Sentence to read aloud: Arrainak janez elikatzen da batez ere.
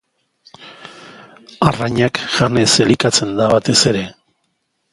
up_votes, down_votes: 2, 0